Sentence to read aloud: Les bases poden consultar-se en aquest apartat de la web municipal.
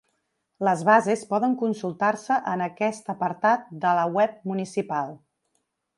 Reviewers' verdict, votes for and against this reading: accepted, 3, 0